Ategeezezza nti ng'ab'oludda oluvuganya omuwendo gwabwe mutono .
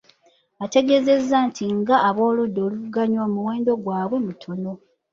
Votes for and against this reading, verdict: 2, 0, accepted